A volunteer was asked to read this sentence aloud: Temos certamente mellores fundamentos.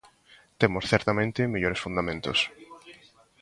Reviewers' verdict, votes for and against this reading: accepted, 2, 1